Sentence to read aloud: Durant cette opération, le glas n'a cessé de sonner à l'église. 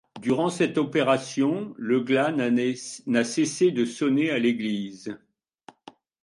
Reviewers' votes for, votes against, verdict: 1, 2, rejected